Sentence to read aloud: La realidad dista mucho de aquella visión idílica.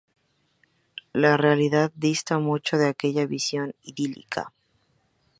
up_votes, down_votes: 2, 2